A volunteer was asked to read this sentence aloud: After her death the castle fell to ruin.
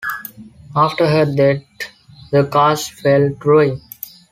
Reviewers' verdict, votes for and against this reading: rejected, 0, 2